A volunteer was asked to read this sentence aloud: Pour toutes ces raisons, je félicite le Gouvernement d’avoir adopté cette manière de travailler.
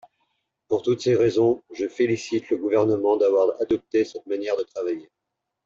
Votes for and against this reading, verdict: 2, 0, accepted